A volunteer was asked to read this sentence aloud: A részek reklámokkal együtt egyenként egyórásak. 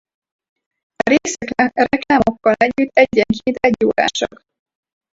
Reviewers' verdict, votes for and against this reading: rejected, 0, 4